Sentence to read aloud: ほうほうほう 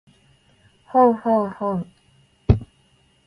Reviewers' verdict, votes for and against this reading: rejected, 0, 2